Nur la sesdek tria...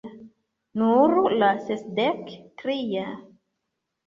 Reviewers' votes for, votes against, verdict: 0, 2, rejected